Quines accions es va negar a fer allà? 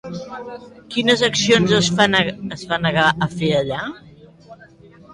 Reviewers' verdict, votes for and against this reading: rejected, 1, 2